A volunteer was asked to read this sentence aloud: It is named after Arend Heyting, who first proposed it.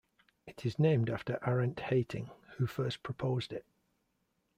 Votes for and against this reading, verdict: 1, 2, rejected